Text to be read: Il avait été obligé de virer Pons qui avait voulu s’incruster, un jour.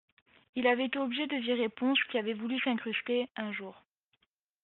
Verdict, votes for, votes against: accepted, 2, 0